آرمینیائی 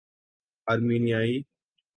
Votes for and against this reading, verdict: 3, 0, accepted